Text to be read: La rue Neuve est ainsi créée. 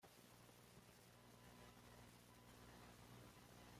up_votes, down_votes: 1, 2